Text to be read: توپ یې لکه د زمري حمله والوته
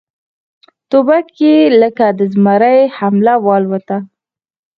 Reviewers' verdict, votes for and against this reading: accepted, 4, 0